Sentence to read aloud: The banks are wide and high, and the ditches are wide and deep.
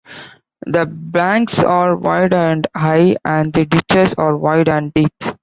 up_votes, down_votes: 2, 0